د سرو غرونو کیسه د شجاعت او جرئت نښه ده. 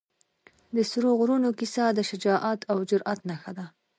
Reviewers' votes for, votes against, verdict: 2, 0, accepted